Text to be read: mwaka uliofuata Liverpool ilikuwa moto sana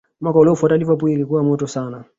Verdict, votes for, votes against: accepted, 2, 1